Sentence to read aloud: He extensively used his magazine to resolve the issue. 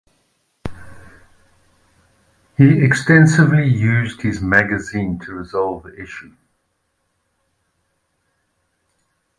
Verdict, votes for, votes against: rejected, 1, 2